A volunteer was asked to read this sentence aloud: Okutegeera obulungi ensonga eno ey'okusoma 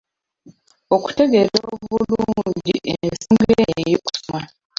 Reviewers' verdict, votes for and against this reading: rejected, 0, 2